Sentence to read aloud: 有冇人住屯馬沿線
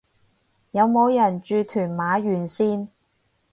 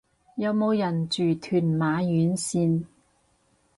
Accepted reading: first